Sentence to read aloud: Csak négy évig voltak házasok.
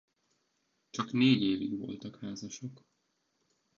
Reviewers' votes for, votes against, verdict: 2, 1, accepted